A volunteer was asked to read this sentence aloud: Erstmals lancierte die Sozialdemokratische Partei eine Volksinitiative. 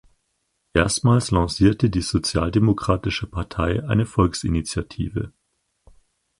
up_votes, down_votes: 4, 0